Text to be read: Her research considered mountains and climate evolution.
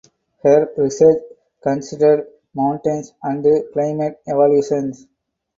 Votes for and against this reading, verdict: 0, 4, rejected